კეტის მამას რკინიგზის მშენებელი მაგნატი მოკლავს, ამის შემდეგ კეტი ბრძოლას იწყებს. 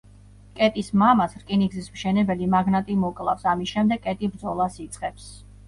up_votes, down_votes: 1, 2